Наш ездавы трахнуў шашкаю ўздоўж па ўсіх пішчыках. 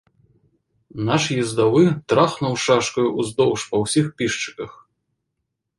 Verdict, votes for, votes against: accepted, 2, 0